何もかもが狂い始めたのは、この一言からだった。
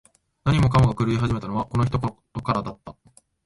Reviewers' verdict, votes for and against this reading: rejected, 0, 2